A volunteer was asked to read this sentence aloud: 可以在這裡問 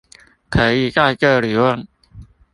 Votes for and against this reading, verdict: 2, 0, accepted